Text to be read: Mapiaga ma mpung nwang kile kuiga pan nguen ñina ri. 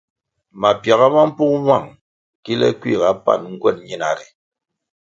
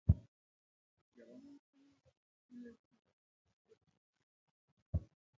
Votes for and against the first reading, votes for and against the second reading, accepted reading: 2, 0, 0, 2, first